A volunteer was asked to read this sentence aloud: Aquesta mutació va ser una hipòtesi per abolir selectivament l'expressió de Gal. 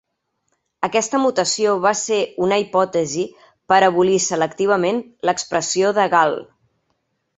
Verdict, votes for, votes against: accepted, 3, 0